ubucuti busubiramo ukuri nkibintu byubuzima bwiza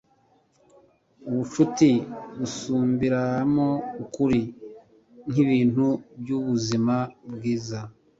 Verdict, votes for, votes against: rejected, 1, 2